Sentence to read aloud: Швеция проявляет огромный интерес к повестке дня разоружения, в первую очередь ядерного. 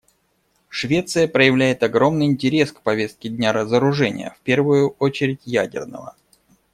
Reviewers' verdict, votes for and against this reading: accepted, 2, 0